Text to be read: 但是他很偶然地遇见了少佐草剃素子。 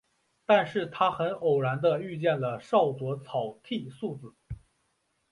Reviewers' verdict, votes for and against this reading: accepted, 4, 0